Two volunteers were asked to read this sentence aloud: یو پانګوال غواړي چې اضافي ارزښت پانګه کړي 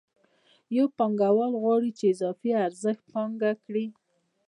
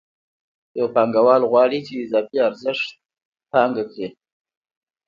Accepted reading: second